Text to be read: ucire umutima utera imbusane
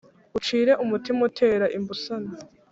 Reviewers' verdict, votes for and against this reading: accepted, 2, 1